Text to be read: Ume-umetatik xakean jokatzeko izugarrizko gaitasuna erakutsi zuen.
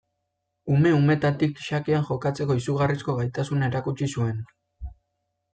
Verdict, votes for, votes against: accepted, 2, 0